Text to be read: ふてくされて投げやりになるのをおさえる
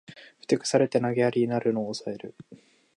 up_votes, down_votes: 2, 0